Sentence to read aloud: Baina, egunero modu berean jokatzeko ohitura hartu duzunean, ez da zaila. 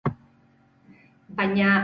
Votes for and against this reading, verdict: 2, 6, rejected